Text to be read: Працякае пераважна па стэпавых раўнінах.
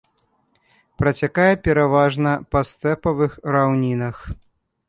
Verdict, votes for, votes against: accepted, 2, 0